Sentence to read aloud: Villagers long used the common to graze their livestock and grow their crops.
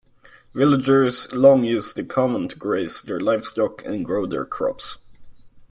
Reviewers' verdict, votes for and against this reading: accepted, 2, 0